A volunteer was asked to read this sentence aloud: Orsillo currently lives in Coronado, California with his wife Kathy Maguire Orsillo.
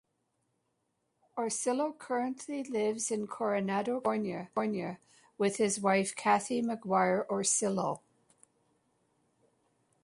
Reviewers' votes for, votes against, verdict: 0, 2, rejected